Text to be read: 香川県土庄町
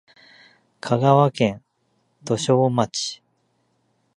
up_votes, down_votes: 2, 1